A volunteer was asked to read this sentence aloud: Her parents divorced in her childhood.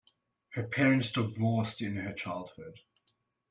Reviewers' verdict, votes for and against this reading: accepted, 2, 1